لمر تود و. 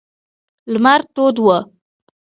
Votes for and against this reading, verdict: 0, 2, rejected